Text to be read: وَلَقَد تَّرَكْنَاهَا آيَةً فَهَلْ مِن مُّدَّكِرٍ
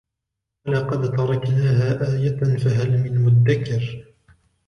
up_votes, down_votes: 1, 2